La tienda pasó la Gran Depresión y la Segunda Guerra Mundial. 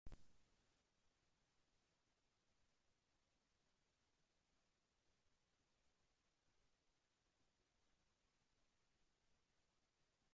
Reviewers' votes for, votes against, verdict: 0, 2, rejected